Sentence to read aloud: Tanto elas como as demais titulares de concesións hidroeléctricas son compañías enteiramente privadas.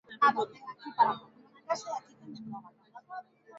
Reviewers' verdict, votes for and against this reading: rejected, 0, 4